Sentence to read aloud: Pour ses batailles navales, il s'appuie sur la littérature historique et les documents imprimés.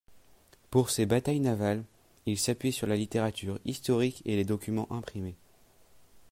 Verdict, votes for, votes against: accepted, 2, 0